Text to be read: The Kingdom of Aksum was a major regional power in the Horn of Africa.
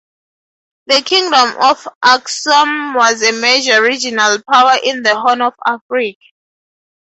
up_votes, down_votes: 2, 0